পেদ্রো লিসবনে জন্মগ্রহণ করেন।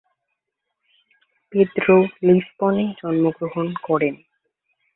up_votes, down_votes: 1, 2